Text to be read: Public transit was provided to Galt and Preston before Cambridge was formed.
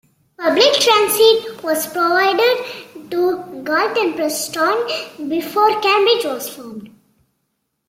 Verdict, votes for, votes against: accepted, 2, 0